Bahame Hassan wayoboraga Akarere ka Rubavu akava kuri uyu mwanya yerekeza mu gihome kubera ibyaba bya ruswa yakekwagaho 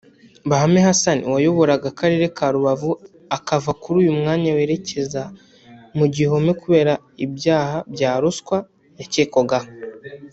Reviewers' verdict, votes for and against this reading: rejected, 2, 3